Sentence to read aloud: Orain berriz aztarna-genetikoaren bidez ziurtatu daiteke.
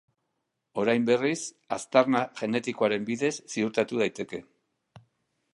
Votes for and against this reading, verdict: 2, 0, accepted